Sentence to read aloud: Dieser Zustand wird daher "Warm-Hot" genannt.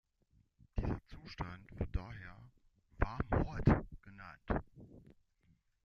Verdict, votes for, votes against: rejected, 0, 2